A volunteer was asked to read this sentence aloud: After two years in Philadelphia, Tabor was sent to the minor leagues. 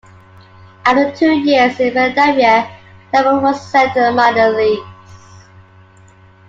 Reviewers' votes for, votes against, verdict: 1, 2, rejected